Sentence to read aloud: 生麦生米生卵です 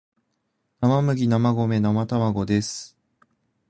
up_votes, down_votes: 2, 0